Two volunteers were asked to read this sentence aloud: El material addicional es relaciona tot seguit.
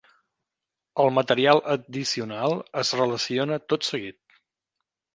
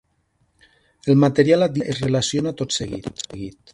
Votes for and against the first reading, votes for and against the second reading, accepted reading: 3, 0, 0, 3, first